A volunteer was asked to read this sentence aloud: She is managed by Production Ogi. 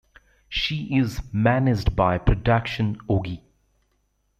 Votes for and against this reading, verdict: 0, 2, rejected